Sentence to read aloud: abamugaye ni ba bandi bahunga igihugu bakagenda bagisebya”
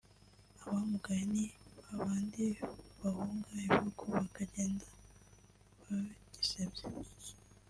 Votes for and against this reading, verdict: 2, 0, accepted